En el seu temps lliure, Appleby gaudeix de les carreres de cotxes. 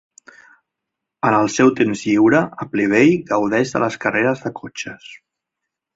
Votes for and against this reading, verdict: 2, 0, accepted